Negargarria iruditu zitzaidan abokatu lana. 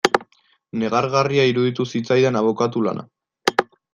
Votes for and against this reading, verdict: 2, 0, accepted